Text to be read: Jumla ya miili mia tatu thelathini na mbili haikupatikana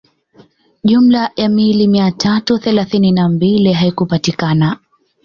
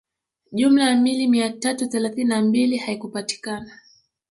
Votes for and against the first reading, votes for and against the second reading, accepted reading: 2, 0, 1, 2, first